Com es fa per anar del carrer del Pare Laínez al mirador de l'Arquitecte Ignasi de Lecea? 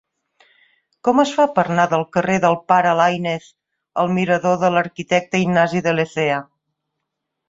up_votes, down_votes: 1, 2